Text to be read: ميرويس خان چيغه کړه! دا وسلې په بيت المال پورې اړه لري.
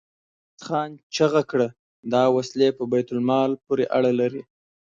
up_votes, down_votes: 1, 2